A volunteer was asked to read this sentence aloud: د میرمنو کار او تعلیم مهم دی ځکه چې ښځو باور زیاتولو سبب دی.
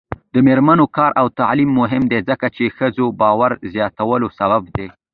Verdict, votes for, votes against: accepted, 2, 1